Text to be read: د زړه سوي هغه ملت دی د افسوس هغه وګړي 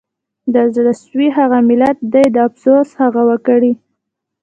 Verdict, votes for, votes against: accepted, 2, 0